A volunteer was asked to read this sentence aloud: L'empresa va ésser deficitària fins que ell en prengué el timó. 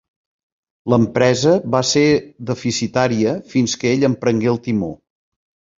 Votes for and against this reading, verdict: 0, 2, rejected